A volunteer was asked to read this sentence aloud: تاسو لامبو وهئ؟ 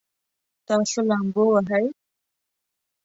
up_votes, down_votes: 2, 0